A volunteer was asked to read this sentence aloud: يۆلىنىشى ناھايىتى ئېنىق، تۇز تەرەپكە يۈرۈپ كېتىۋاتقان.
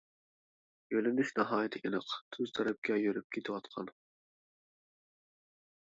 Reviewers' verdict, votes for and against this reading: accepted, 2, 1